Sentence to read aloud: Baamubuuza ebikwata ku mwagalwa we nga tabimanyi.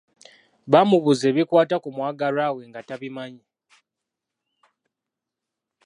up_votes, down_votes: 2, 0